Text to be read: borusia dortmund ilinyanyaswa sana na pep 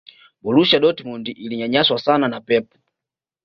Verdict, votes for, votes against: accepted, 2, 0